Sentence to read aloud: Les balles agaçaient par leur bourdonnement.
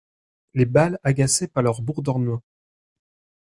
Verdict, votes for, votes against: rejected, 0, 2